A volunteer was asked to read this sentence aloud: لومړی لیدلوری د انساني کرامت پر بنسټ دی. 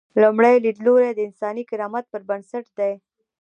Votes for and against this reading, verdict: 2, 1, accepted